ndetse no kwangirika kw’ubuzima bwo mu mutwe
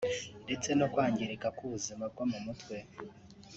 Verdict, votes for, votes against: accepted, 3, 0